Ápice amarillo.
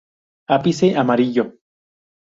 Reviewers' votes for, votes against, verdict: 0, 2, rejected